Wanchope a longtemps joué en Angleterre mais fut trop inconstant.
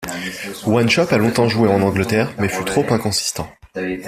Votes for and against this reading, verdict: 0, 2, rejected